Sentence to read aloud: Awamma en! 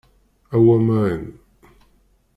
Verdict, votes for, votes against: rejected, 0, 2